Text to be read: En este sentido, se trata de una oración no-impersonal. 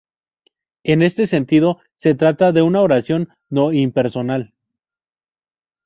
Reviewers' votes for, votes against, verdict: 2, 0, accepted